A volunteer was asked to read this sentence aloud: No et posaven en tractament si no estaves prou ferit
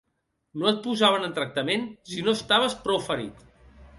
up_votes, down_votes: 2, 0